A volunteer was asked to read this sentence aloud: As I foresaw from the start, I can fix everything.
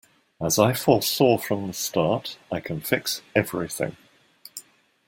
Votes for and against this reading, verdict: 2, 0, accepted